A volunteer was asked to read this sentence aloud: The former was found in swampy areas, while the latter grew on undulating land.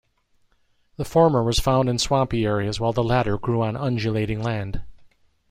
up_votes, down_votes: 2, 0